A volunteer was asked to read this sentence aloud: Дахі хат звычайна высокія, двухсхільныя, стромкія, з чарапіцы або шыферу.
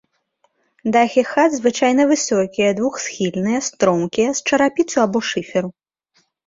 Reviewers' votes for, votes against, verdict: 2, 0, accepted